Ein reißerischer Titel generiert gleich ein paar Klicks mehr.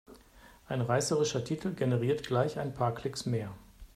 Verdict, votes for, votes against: accepted, 2, 0